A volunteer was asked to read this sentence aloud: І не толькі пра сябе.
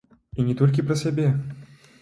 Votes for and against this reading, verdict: 2, 1, accepted